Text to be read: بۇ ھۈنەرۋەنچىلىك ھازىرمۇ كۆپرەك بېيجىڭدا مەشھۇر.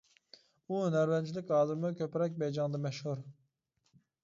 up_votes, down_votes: 2, 1